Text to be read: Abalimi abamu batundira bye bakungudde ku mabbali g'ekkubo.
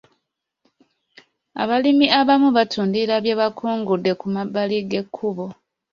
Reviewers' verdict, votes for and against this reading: accepted, 2, 0